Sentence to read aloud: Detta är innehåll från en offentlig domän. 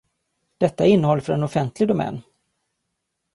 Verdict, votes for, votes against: rejected, 0, 2